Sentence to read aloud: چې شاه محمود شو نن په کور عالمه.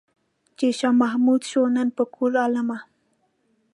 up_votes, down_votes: 2, 0